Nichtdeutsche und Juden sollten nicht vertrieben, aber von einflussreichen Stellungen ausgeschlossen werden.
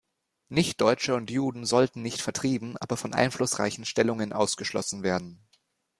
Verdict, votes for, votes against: accepted, 2, 0